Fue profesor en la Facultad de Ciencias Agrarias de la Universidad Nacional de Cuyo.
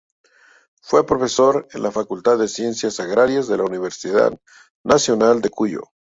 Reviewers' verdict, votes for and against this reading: accepted, 4, 0